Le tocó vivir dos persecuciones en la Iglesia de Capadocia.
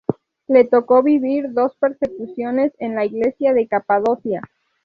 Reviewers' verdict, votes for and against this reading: accepted, 2, 0